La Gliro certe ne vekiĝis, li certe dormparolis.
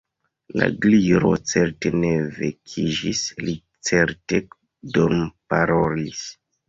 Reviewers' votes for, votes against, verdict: 2, 1, accepted